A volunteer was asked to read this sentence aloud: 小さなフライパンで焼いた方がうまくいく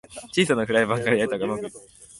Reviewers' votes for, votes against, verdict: 1, 3, rejected